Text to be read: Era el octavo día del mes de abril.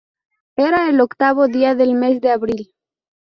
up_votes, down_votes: 2, 0